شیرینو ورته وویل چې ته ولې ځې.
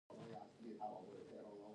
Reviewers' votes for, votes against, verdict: 2, 1, accepted